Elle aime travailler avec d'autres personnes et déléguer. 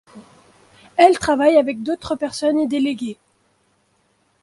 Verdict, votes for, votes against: rejected, 0, 2